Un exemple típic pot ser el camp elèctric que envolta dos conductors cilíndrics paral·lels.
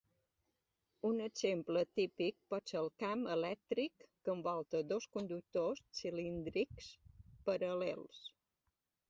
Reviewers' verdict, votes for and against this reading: accepted, 2, 0